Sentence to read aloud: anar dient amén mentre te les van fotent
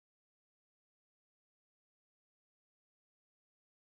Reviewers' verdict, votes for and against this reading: rejected, 0, 2